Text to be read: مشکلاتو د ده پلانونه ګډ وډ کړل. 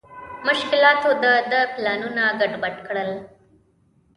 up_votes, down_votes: 1, 2